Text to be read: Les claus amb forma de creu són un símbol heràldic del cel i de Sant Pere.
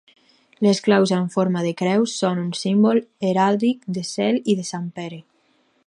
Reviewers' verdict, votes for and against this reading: rejected, 2, 4